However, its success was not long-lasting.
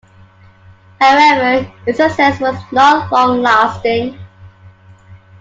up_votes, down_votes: 2, 1